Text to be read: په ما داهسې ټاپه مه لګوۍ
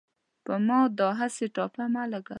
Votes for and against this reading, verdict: 1, 2, rejected